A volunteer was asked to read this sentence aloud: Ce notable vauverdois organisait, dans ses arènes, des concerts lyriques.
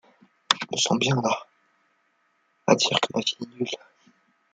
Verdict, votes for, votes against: rejected, 0, 2